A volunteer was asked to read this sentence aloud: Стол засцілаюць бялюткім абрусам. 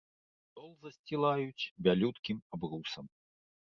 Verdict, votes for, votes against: rejected, 0, 2